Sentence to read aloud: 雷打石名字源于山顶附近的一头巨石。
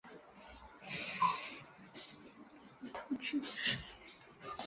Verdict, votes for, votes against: rejected, 0, 5